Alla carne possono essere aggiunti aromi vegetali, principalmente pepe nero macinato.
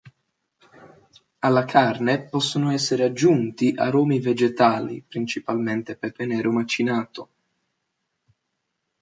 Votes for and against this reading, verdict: 2, 0, accepted